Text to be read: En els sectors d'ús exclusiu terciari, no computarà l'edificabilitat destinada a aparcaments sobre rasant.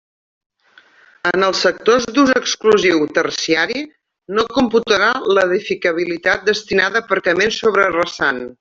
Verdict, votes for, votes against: accepted, 2, 1